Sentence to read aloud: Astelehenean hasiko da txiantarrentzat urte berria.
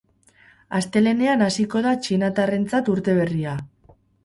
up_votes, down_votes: 0, 2